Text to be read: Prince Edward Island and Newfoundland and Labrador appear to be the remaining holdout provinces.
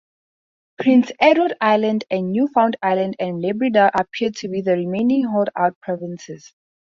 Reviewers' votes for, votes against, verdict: 0, 2, rejected